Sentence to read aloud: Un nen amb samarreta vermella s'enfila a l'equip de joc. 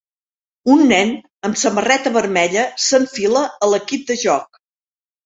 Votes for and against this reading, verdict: 4, 0, accepted